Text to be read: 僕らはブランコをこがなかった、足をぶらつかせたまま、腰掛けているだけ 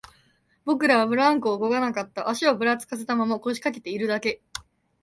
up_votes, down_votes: 2, 0